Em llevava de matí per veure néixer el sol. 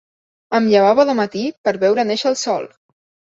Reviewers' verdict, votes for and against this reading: accepted, 3, 0